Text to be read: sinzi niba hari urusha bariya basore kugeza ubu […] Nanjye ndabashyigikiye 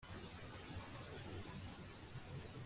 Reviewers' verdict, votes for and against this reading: rejected, 0, 2